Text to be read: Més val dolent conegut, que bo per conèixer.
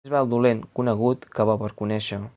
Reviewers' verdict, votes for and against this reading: rejected, 0, 3